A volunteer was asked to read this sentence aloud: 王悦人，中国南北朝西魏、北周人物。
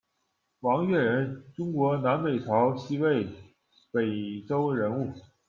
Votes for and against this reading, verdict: 2, 0, accepted